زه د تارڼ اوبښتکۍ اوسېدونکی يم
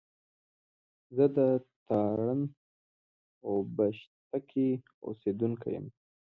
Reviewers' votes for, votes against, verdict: 2, 0, accepted